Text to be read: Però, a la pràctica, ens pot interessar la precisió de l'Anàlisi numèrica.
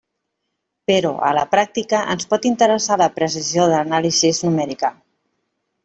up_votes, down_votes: 0, 2